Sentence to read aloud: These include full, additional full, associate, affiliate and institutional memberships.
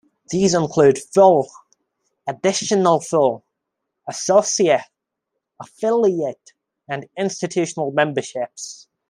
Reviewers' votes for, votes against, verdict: 2, 0, accepted